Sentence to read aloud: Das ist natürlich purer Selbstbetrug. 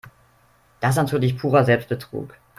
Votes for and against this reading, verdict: 0, 2, rejected